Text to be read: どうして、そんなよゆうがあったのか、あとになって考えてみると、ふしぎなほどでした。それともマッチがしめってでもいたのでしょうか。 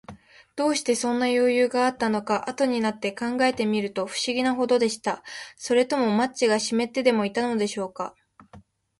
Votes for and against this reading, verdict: 2, 0, accepted